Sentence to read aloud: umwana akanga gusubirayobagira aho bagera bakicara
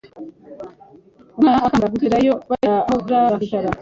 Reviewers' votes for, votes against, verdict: 1, 2, rejected